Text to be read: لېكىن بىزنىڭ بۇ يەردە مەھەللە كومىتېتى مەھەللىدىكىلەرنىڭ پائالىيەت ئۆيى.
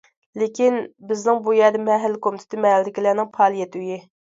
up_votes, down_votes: 2, 0